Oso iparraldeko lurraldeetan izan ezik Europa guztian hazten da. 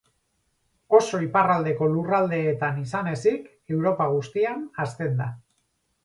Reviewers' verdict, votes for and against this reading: accepted, 2, 0